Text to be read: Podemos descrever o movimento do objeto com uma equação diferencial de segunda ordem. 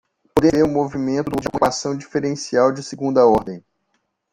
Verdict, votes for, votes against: rejected, 0, 2